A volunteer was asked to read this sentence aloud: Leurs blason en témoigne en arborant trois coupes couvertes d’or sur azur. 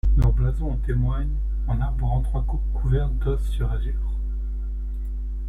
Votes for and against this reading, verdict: 1, 2, rejected